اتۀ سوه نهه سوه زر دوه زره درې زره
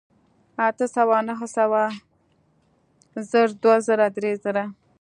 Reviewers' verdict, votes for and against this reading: accepted, 2, 0